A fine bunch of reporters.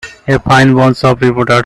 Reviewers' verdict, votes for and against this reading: rejected, 0, 2